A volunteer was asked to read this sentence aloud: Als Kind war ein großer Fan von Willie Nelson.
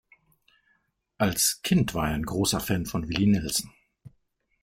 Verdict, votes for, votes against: rejected, 2, 3